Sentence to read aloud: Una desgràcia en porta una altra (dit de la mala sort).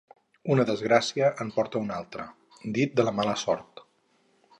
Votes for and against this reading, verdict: 2, 2, rejected